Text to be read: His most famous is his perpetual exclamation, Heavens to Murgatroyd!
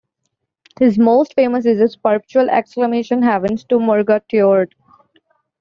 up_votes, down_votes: 1, 2